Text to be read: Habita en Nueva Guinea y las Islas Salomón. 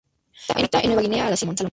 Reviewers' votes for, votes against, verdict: 0, 2, rejected